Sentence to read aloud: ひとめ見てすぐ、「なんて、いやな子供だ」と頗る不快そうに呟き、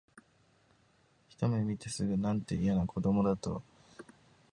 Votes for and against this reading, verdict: 0, 2, rejected